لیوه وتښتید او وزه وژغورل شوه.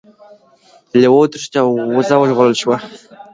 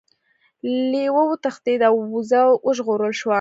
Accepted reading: first